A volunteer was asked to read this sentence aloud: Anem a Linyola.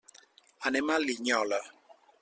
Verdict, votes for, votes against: accepted, 3, 0